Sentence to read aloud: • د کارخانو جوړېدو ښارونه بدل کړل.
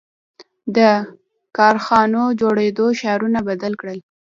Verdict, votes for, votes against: rejected, 1, 2